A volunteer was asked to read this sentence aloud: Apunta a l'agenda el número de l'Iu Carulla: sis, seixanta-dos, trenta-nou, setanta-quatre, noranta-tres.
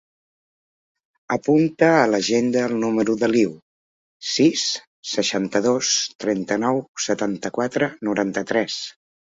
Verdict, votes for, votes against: rejected, 1, 2